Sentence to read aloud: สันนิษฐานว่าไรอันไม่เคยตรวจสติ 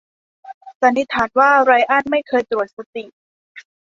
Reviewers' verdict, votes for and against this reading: accepted, 2, 0